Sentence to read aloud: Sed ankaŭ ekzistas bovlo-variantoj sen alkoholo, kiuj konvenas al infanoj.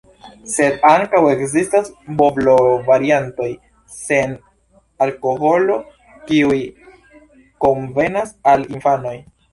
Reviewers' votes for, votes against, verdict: 0, 2, rejected